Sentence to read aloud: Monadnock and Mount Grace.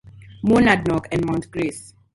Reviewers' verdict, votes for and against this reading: accepted, 2, 0